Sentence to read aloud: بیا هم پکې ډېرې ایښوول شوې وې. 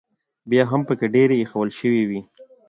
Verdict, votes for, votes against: rejected, 1, 2